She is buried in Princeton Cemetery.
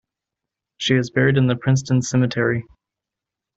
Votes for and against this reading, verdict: 1, 2, rejected